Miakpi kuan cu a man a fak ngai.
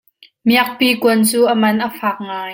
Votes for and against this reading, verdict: 2, 0, accepted